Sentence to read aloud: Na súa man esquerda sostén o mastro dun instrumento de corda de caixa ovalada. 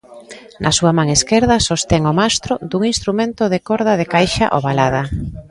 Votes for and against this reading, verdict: 2, 0, accepted